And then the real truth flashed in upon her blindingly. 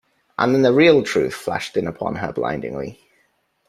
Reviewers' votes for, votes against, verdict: 2, 0, accepted